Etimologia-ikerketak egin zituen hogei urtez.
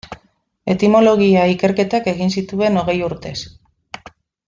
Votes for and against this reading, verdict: 2, 0, accepted